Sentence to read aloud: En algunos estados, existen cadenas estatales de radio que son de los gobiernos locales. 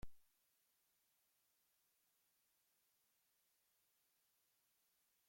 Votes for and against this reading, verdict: 0, 2, rejected